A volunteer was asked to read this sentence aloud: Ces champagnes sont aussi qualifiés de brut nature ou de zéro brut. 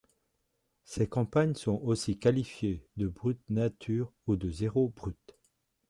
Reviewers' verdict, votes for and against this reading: rejected, 0, 2